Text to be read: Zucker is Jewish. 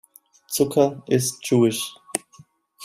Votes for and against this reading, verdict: 2, 0, accepted